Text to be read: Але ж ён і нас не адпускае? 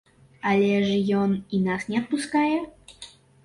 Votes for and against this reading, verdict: 3, 0, accepted